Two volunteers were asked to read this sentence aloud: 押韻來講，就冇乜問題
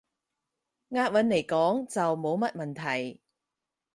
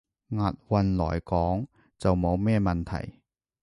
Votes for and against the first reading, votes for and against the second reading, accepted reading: 4, 0, 1, 2, first